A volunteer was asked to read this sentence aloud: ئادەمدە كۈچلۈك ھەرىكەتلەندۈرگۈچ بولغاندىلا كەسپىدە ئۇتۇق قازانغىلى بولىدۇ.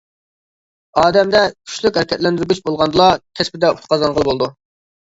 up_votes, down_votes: 1, 2